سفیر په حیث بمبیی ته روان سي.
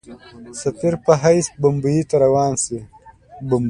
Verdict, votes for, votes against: accepted, 2, 0